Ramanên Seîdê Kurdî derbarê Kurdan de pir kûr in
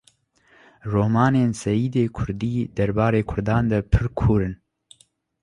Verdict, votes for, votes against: rejected, 0, 2